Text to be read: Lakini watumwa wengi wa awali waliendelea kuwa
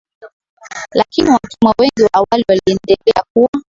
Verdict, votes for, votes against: rejected, 2, 6